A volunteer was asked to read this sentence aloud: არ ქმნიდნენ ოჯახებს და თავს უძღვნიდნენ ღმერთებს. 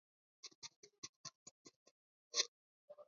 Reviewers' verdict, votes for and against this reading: rejected, 0, 2